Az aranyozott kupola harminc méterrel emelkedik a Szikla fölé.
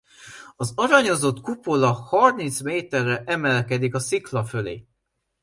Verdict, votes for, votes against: accepted, 2, 0